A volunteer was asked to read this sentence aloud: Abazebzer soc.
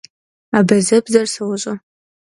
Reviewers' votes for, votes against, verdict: 1, 2, rejected